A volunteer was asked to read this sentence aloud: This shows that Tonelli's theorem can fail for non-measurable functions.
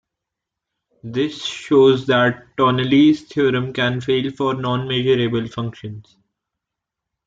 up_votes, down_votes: 2, 0